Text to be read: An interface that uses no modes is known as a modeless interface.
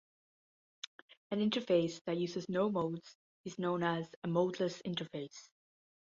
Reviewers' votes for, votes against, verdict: 2, 0, accepted